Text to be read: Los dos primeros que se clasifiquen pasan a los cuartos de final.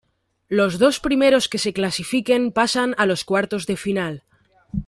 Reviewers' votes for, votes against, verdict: 2, 0, accepted